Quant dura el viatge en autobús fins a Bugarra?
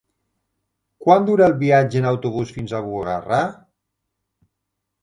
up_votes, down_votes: 2, 0